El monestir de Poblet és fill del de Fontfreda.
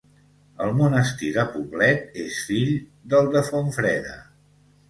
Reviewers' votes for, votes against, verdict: 2, 0, accepted